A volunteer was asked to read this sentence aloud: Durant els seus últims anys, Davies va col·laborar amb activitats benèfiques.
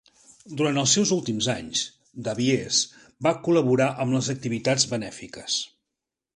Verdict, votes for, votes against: rejected, 0, 2